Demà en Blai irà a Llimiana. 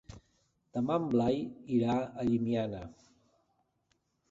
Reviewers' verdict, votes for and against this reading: accepted, 2, 0